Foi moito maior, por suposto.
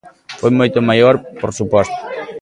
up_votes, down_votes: 2, 1